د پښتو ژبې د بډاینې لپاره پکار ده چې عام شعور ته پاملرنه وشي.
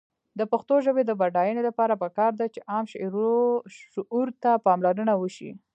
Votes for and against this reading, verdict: 2, 1, accepted